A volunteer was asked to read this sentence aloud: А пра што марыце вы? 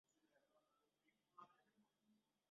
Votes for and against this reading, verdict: 0, 2, rejected